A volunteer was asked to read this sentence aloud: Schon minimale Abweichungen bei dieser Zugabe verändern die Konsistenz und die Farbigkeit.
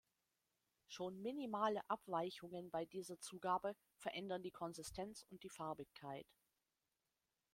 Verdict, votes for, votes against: rejected, 0, 2